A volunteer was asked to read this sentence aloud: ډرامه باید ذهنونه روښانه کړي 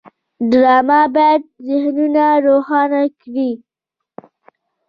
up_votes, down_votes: 2, 1